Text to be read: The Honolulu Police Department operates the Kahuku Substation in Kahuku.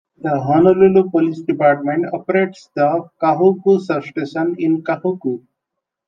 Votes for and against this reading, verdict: 2, 0, accepted